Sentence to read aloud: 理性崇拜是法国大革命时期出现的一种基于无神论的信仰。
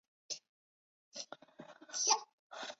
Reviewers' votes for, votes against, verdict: 0, 3, rejected